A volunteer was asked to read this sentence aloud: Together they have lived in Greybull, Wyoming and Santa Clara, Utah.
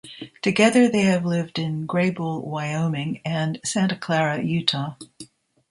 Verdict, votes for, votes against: rejected, 1, 2